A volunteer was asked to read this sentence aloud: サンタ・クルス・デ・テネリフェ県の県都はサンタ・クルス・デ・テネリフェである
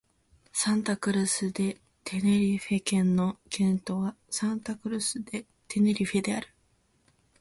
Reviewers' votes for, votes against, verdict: 1, 2, rejected